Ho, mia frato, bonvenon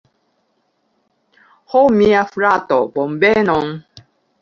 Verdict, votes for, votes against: rejected, 1, 2